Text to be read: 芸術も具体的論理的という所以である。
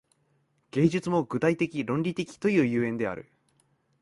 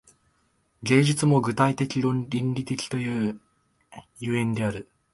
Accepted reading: first